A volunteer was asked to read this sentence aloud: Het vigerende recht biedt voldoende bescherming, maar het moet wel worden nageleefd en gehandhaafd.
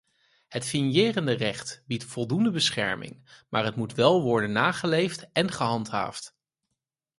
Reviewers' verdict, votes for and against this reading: rejected, 0, 4